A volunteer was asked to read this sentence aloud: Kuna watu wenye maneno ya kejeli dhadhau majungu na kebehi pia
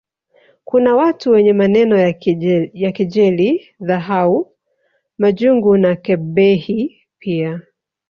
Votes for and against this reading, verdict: 0, 2, rejected